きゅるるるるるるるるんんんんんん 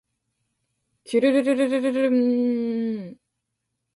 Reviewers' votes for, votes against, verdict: 2, 0, accepted